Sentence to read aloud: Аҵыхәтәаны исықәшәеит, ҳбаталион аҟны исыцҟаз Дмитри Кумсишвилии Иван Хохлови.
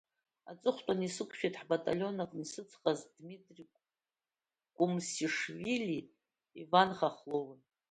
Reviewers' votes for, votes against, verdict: 2, 0, accepted